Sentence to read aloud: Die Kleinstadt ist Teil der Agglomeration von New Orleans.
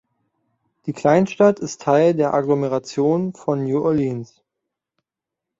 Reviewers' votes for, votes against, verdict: 2, 1, accepted